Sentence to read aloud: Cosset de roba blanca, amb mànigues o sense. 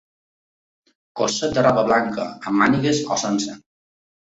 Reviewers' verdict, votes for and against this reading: accepted, 4, 1